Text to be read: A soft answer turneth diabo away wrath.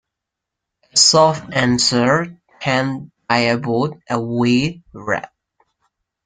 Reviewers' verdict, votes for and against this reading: rejected, 0, 2